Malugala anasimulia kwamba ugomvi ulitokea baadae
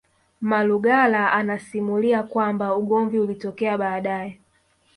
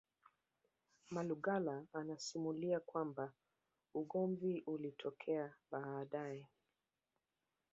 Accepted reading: first